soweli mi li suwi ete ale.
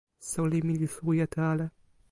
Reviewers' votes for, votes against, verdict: 2, 1, accepted